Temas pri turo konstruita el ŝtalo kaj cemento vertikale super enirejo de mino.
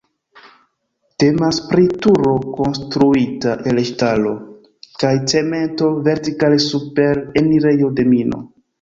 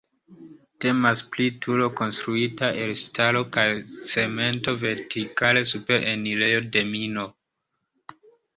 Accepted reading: second